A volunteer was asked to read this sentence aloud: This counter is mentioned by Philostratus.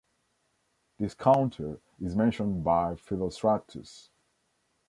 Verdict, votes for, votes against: accepted, 2, 0